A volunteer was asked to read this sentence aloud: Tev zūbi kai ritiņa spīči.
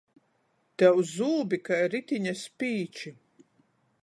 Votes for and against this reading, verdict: 14, 0, accepted